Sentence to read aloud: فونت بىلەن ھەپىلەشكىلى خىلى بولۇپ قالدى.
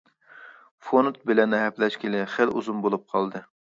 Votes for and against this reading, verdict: 0, 2, rejected